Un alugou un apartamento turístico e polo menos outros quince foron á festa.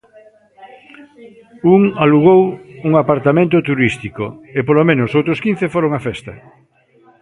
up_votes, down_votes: 0, 2